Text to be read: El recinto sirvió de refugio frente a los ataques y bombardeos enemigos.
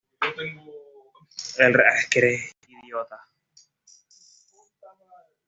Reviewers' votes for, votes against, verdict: 1, 2, rejected